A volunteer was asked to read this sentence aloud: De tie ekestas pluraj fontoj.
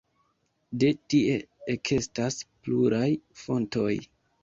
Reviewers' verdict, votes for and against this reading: rejected, 1, 2